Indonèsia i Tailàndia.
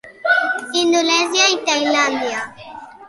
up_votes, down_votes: 1, 2